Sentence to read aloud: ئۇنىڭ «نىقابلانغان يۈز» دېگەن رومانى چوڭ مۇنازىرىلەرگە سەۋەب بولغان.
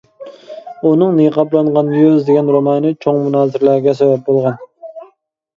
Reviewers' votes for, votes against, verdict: 0, 2, rejected